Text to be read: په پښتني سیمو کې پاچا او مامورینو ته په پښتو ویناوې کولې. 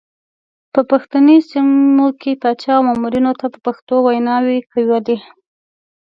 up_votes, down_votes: 1, 2